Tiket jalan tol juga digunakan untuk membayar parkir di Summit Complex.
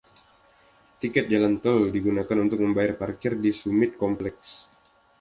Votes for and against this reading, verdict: 1, 2, rejected